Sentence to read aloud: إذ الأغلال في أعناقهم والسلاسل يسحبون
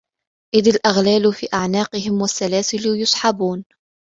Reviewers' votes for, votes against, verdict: 3, 0, accepted